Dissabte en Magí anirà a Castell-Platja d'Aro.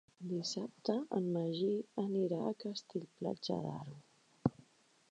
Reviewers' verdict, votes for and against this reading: rejected, 2, 3